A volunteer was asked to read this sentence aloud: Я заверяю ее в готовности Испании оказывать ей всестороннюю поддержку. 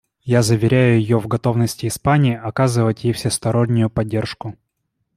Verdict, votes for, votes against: accepted, 2, 0